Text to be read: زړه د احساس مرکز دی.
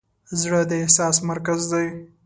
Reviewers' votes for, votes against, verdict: 2, 0, accepted